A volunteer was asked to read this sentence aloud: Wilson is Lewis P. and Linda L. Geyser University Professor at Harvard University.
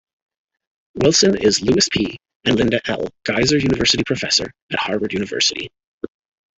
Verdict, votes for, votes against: rejected, 0, 2